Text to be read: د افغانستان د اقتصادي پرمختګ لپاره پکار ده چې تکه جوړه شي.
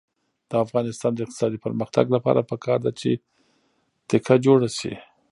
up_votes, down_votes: 3, 0